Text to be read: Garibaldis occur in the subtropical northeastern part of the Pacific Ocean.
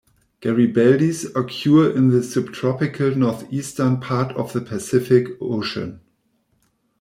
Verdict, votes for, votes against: rejected, 1, 2